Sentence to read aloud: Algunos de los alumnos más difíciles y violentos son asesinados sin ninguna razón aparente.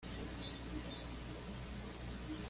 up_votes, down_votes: 1, 2